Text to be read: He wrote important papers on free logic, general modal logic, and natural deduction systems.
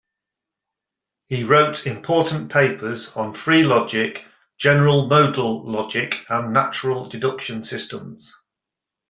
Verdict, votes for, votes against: accepted, 2, 0